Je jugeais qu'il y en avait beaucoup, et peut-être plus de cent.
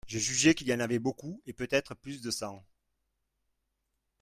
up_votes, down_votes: 2, 0